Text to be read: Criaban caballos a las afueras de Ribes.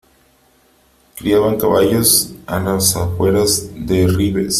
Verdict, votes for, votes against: accepted, 2, 0